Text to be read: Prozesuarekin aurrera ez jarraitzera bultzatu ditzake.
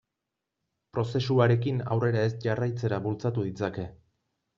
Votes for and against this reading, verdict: 2, 0, accepted